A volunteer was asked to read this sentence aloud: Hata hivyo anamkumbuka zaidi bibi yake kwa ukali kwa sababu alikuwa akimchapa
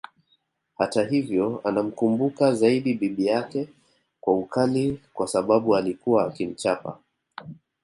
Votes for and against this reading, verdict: 2, 0, accepted